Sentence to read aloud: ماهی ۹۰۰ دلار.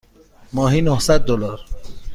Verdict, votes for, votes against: rejected, 0, 2